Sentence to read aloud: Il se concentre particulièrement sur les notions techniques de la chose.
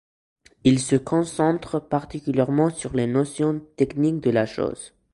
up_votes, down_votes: 2, 0